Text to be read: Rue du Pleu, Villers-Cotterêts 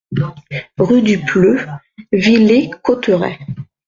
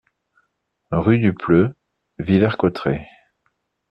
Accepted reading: second